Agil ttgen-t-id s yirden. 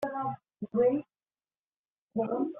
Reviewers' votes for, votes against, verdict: 1, 2, rejected